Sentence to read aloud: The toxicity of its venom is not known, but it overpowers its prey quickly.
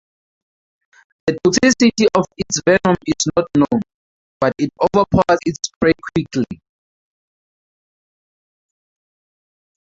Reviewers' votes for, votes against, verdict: 0, 4, rejected